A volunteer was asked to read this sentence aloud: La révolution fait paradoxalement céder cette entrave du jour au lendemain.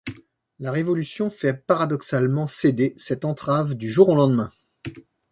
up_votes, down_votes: 2, 0